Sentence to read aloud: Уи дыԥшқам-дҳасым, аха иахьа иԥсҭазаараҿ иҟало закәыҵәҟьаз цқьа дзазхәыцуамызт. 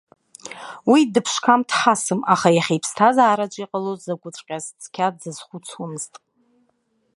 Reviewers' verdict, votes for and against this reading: accepted, 2, 0